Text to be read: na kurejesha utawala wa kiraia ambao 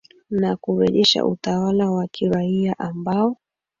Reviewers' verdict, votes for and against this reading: accepted, 3, 2